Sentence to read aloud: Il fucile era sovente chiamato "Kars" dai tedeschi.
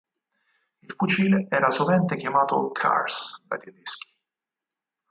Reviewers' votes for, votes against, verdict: 0, 4, rejected